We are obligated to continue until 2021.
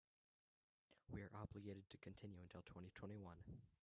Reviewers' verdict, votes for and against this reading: rejected, 0, 2